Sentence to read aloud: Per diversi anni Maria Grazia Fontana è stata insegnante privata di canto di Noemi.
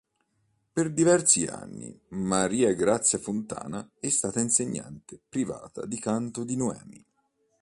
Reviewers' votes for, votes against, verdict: 2, 0, accepted